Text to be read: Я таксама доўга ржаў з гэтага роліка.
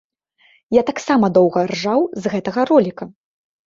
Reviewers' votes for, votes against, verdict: 3, 0, accepted